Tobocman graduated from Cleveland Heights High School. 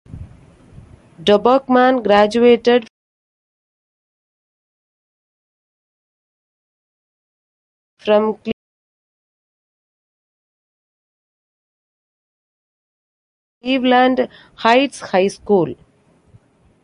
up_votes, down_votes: 0, 2